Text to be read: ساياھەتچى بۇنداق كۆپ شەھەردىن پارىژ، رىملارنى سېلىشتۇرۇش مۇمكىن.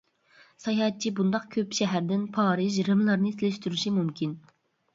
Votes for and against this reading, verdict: 0, 2, rejected